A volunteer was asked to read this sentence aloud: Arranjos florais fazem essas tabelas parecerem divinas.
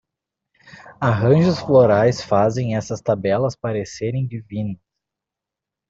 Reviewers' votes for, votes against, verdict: 1, 2, rejected